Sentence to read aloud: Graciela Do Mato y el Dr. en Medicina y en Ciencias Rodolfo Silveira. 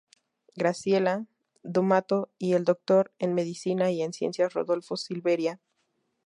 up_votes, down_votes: 0, 2